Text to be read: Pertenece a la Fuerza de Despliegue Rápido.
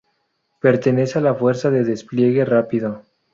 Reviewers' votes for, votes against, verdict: 2, 0, accepted